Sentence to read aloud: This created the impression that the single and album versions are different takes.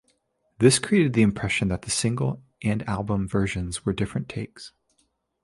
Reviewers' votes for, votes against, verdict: 0, 2, rejected